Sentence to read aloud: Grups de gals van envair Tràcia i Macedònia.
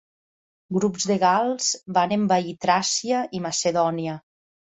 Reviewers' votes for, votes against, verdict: 3, 0, accepted